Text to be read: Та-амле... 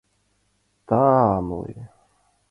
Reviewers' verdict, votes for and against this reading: accepted, 2, 0